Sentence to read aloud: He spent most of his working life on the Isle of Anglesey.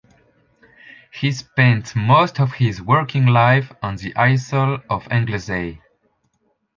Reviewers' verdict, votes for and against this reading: rejected, 0, 2